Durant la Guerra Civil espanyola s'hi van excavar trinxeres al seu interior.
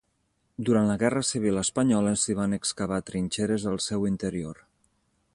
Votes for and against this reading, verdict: 3, 0, accepted